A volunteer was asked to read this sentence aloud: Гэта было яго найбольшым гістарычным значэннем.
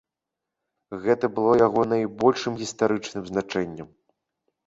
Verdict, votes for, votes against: accepted, 2, 0